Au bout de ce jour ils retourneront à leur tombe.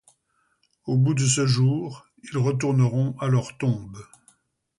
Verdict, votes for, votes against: accepted, 2, 0